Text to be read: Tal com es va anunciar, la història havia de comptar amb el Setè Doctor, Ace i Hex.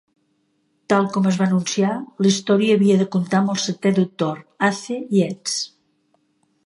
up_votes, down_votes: 0, 2